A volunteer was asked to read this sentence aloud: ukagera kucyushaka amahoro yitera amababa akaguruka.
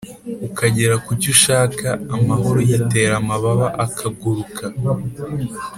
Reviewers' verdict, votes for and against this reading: accepted, 4, 0